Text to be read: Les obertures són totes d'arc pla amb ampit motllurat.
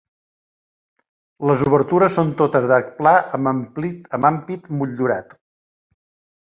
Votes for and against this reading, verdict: 0, 2, rejected